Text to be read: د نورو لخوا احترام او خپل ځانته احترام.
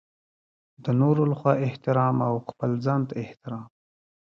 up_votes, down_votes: 1, 2